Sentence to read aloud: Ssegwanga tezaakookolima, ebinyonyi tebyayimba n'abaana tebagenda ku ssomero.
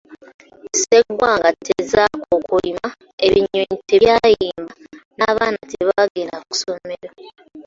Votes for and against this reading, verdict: 2, 1, accepted